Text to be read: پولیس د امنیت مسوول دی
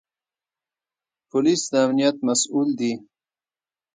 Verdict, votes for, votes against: rejected, 0, 2